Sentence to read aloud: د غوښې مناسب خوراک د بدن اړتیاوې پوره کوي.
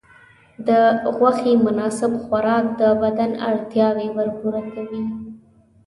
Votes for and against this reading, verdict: 0, 2, rejected